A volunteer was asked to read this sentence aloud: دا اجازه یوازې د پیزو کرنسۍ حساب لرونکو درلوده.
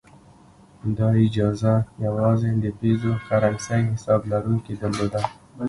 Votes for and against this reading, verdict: 2, 0, accepted